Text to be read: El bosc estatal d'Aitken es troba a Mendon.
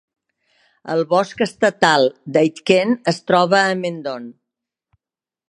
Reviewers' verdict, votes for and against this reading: accepted, 2, 0